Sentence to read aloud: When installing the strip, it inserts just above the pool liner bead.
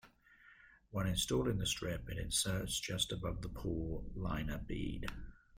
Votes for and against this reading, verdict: 2, 0, accepted